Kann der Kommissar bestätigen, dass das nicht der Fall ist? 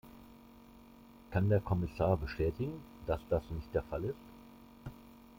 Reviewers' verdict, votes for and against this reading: accepted, 2, 0